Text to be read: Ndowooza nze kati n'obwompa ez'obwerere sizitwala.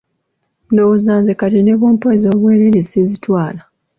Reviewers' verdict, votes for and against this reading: accepted, 2, 0